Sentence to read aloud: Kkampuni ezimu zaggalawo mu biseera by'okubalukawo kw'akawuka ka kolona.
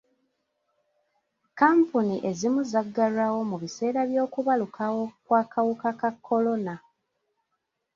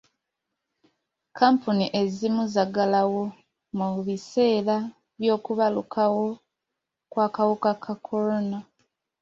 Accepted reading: second